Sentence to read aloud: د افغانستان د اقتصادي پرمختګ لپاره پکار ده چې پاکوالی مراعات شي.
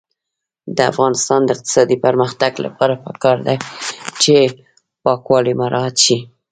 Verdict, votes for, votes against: rejected, 1, 2